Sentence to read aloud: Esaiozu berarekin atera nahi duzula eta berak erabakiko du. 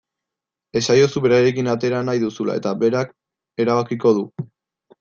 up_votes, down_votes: 2, 1